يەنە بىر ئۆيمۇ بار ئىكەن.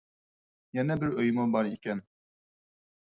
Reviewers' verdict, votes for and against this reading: accepted, 4, 0